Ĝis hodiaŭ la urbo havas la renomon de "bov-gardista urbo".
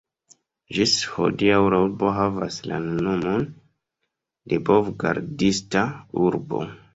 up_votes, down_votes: 2, 0